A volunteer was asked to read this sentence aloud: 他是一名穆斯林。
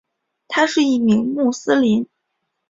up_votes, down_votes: 3, 0